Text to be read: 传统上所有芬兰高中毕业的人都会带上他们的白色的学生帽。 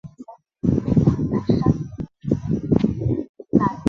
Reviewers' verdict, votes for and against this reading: rejected, 0, 5